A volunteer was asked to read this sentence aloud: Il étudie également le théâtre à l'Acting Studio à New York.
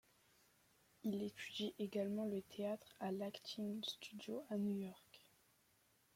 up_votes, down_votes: 2, 0